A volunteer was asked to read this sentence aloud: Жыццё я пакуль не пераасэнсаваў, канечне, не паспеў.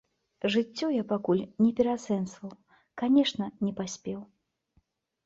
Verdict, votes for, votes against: rejected, 1, 2